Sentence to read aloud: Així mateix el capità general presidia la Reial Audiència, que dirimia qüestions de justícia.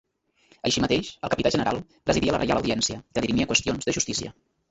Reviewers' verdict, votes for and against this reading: rejected, 0, 2